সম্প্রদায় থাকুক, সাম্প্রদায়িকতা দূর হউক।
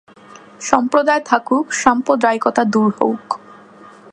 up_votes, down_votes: 2, 0